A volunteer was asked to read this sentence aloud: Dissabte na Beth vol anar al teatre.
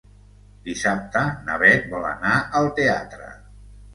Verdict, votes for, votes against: accepted, 2, 0